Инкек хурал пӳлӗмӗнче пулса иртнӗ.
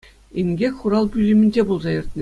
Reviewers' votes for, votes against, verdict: 2, 0, accepted